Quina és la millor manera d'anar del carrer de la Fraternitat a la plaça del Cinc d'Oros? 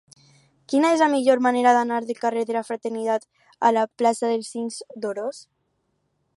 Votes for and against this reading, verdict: 4, 2, accepted